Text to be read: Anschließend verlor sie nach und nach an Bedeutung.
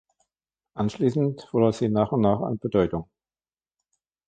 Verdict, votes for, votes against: accepted, 2, 0